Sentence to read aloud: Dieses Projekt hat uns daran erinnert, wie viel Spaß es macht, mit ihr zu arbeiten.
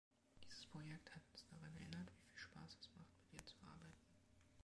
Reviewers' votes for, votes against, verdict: 2, 1, accepted